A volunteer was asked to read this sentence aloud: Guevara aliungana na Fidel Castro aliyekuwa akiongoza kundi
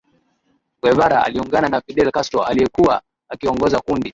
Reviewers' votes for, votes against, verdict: 2, 2, rejected